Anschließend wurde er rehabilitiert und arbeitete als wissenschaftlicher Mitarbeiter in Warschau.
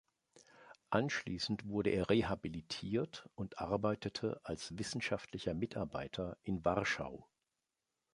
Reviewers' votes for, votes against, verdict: 2, 0, accepted